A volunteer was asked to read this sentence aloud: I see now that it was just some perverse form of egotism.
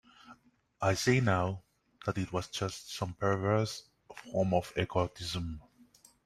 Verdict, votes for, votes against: accepted, 2, 1